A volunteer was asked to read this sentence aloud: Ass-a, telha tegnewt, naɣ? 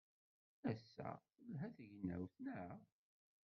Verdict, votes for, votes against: rejected, 1, 2